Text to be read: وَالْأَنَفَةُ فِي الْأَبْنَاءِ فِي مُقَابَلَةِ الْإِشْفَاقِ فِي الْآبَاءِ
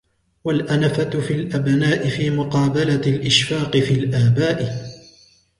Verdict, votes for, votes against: accepted, 3, 0